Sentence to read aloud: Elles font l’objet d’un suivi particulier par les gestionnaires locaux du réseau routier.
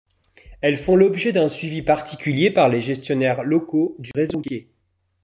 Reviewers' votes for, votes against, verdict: 0, 2, rejected